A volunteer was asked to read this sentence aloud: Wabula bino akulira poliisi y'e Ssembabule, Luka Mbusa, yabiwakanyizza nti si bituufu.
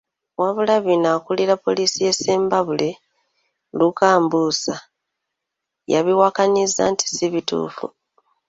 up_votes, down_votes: 2, 0